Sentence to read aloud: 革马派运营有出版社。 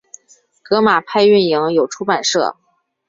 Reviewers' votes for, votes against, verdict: 3, 0, accepted